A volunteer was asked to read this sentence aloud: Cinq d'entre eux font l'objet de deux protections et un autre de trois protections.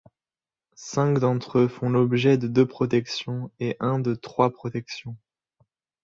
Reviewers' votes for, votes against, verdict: 1, 2, rejected